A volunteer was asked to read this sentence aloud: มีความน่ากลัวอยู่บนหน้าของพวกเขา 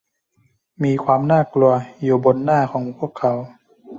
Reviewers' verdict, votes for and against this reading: accepted, 2, 0